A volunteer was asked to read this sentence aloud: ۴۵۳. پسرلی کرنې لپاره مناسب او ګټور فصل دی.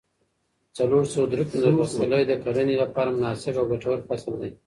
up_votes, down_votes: 0, 2